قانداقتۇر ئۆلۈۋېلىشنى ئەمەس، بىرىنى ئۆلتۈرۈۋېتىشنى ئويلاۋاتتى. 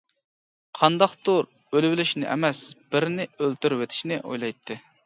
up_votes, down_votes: 0, 2